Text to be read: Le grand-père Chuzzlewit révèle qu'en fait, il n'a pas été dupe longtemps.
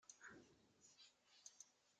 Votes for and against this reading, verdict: 0, 2, rejected